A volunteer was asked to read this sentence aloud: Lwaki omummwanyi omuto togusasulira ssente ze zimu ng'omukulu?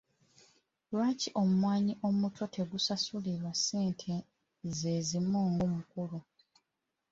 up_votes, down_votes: 0, 2